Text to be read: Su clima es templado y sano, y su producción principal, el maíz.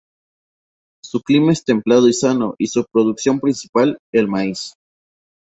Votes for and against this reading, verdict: 0, 2, rejected